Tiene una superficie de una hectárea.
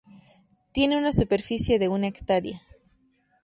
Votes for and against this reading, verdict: 2, 0, accepted